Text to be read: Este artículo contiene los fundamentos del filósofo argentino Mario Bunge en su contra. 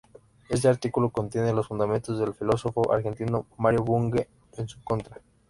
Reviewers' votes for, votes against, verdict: 2, 1, accepted